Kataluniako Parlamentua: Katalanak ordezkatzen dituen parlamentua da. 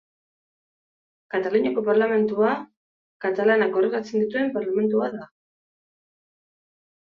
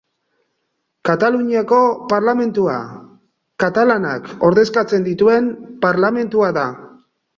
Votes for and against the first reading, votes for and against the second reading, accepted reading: 1, 2, 2, 0, second